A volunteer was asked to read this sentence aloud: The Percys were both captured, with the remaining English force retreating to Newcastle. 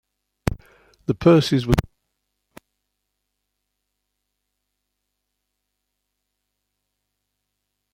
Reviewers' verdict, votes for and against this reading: rejected, 0, 2